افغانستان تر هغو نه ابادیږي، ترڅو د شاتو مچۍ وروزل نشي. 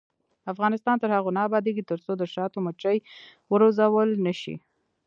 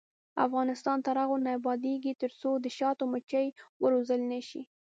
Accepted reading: second